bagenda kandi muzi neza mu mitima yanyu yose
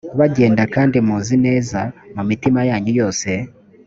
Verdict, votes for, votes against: accepted, 2, 0